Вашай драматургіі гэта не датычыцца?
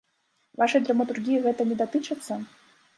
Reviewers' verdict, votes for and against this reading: accepted, 2, 0